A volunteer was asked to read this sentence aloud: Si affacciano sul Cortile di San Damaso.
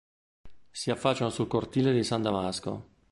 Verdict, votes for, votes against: rejected, 0, 2